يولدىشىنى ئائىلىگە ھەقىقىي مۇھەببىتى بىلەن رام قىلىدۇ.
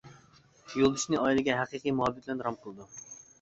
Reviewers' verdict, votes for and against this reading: accepted, 2, 0